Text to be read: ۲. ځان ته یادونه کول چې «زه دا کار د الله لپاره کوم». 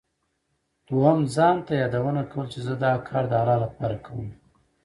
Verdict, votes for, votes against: rejected, 0, 2